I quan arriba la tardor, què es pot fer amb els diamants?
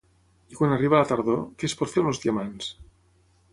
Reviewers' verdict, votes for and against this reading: rejected, 3, 3